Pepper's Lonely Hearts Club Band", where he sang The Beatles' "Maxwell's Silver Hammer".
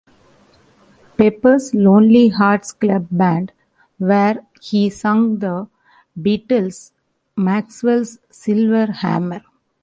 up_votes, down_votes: 2, 0